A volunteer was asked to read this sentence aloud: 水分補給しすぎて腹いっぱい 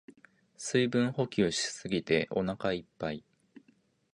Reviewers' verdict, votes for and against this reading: rejected, 1, 2